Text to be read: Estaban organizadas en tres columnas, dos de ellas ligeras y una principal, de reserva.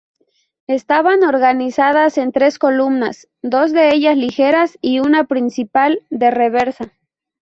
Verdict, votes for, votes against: rejected, 0, 2